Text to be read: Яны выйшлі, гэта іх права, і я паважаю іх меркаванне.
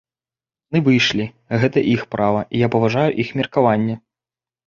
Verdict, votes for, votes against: rejected, 1, 2